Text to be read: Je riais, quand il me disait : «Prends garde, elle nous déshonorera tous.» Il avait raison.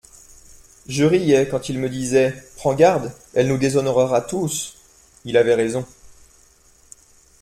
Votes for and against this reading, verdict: 2, 0, accepted